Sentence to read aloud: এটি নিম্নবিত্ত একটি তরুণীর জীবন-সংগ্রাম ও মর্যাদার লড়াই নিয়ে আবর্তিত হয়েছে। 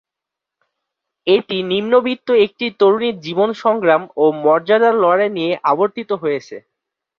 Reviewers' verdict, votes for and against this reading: accepted, 11, 1